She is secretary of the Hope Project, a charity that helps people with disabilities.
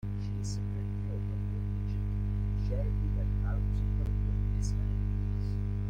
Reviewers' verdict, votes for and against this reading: rejected, 0, 2